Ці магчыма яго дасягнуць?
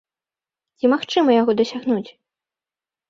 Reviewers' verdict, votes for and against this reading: accepted, 2, 0